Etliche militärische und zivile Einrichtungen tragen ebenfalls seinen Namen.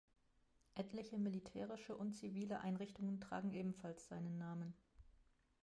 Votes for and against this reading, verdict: 2, 1, accepted